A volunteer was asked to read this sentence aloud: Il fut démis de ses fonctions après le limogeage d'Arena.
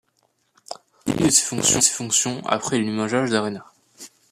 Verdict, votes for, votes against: rejected, 1, 2